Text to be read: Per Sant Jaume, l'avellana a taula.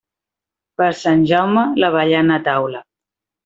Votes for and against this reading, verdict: 2, 0, accepted